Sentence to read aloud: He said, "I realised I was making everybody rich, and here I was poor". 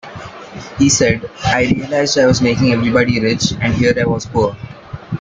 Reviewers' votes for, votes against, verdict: 2, 0, accepted